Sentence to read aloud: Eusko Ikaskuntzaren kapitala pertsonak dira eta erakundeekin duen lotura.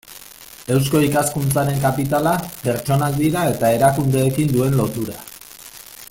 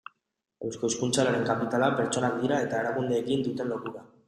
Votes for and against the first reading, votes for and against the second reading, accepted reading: 2, 1, 0, 2, first